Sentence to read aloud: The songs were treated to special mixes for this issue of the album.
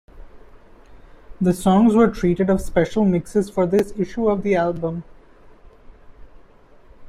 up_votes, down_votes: 0, 2